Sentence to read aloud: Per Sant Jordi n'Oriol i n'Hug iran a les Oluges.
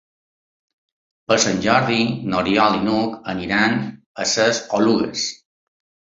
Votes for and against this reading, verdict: 0, 3, rejected